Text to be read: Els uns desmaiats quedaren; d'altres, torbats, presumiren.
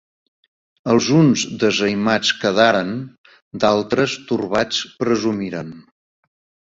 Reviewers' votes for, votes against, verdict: 1, 2, rejected